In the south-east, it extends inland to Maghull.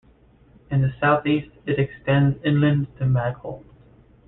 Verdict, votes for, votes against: rejected, 0, 2